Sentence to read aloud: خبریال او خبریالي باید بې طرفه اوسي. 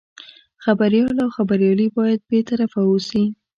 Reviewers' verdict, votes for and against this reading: rejected, 1, 2